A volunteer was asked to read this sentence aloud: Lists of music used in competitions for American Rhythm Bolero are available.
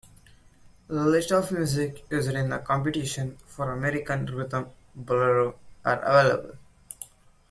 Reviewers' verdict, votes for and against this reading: rejected, 0, 2